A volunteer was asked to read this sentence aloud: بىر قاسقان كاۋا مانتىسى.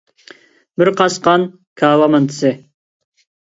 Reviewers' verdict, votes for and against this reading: accepted, 2, 0